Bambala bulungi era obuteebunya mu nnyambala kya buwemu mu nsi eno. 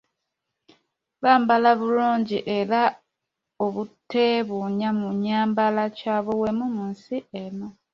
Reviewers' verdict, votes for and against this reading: rejected, 1, 2